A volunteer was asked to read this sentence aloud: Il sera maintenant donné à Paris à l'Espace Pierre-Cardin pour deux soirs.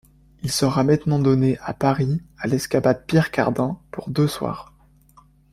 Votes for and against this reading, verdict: 1, 2, rejected